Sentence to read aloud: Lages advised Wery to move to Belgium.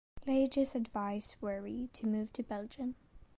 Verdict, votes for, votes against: accepted, 2, 0